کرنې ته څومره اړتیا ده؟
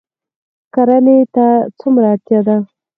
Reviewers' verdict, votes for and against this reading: accepted, 4, 2